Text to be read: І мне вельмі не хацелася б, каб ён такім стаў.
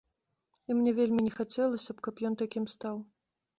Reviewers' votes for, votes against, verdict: 2, 0, accepted